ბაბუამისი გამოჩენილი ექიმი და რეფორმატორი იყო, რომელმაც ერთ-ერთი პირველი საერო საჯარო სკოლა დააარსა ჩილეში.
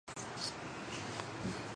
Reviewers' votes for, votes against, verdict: 0, 2, rejected